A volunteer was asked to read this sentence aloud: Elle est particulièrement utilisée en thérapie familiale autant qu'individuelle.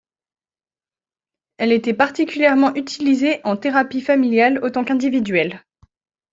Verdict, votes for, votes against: rejected, 1, 2